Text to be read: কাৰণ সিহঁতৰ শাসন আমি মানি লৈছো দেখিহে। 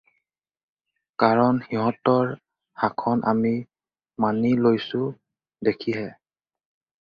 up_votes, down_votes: 0, 2